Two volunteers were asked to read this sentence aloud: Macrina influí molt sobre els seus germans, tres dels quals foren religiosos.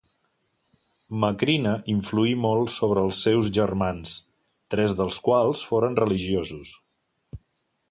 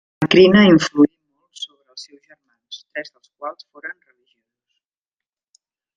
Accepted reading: first